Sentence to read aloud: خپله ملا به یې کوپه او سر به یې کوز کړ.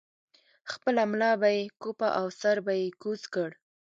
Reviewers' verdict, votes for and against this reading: accepted, 2, 0